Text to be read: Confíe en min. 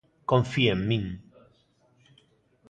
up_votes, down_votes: 2, 0